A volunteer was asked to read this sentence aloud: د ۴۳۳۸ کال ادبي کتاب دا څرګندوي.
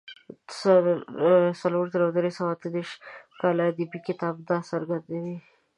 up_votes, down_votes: 0, 2